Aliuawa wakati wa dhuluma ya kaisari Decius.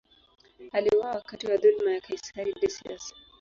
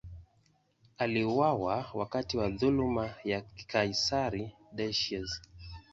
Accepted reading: second